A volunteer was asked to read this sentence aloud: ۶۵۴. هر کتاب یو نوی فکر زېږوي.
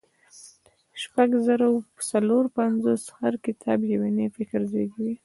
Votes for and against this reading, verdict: 0, 2, rejected